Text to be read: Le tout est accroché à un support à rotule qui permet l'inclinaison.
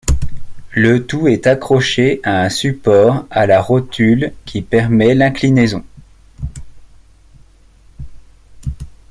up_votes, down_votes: 1, 2